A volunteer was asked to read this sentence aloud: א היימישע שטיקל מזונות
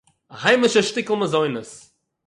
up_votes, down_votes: 6, 0